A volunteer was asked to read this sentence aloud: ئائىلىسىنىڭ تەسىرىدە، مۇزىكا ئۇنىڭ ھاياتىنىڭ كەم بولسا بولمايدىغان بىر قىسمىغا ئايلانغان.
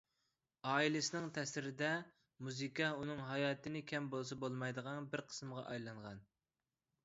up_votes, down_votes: 1, 2